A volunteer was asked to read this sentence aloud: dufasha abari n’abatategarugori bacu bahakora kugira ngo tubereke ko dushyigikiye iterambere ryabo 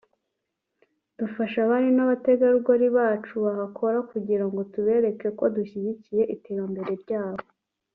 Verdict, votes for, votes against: rejected, 0, 2